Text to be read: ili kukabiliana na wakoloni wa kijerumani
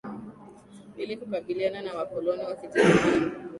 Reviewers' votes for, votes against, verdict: 2, 1, accepted